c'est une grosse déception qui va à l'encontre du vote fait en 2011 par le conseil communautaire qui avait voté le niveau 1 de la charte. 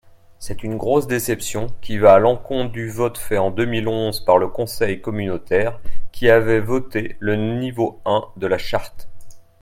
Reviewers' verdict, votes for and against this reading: rejected, 0, 2